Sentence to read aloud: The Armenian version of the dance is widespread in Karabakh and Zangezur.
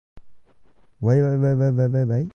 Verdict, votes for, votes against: rejected, 0, 2